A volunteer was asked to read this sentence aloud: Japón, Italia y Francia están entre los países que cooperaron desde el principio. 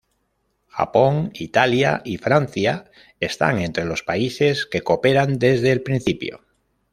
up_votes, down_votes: 1, 2